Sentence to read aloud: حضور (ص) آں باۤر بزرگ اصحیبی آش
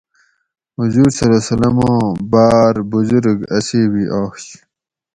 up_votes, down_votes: 4, 0